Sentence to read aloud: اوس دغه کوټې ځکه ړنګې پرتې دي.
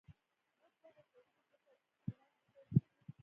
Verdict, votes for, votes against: rejected, 0, 2